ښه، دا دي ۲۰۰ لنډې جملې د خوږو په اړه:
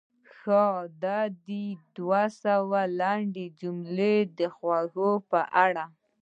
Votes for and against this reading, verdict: 0, 2, rejected